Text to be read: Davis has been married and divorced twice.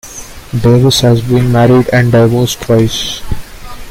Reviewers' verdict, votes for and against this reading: accepted, 2, 1